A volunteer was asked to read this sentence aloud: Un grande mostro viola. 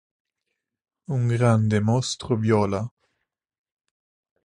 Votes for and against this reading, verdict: 3, 0, accepted